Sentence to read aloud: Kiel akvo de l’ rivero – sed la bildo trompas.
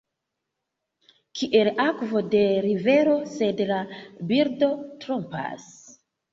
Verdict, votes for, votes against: rejected, 1, 2